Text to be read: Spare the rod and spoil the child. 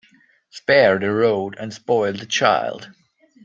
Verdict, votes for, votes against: rejected, 1, 2